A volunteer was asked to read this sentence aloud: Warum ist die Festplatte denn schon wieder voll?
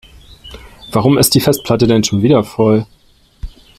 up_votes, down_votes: 3, 0